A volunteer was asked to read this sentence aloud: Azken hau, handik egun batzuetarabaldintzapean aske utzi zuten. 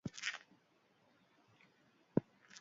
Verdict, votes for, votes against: rejected, 0, 2